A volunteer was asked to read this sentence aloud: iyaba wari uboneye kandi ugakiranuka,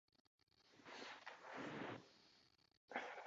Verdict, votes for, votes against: rejected, 0, 2